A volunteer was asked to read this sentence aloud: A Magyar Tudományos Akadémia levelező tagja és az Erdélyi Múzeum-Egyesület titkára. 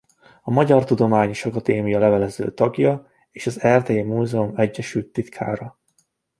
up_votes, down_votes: 0, 2